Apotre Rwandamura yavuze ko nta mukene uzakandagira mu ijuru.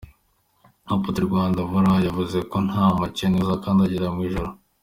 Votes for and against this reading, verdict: 2, 1, accepted